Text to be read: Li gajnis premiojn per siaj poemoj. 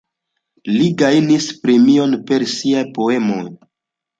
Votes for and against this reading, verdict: 2, 1, accepted